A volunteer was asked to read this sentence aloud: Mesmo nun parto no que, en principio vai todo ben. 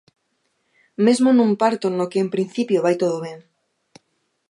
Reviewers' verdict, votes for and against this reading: accepted, 2, 0